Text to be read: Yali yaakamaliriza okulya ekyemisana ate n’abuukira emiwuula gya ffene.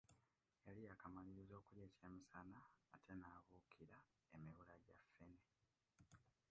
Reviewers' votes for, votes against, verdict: 0, 2, rejected